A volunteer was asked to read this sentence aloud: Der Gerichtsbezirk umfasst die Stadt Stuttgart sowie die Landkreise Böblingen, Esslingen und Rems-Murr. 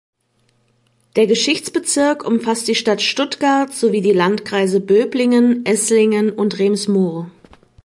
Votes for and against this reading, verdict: 1, 3, rejected